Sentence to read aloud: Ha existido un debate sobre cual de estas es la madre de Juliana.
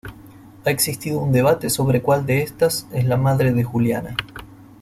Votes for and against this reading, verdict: 1, 2, rejected